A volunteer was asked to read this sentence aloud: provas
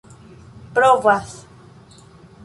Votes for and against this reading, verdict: 1, 2, rejected